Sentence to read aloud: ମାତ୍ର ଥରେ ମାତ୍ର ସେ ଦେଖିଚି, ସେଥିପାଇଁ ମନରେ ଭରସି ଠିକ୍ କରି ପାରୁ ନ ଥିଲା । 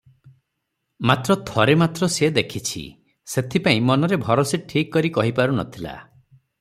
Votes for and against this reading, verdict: 3, 0, accepted